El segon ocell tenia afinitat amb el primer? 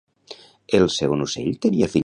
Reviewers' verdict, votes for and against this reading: rejected, 0, 2